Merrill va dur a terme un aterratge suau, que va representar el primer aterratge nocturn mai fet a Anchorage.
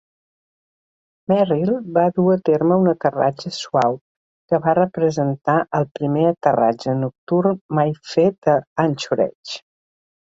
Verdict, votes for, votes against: accepted, 4, 0